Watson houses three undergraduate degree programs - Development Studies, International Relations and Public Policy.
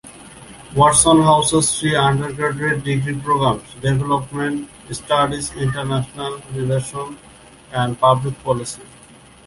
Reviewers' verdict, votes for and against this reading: rejected, 0, 2